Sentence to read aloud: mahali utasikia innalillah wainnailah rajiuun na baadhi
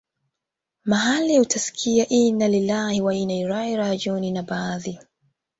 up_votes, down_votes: 1, 2